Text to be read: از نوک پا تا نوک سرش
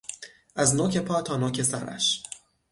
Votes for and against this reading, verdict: 6, 0, accepted